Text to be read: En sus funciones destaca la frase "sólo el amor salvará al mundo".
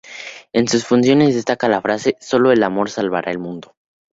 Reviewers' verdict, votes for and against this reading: accepted, 2, 0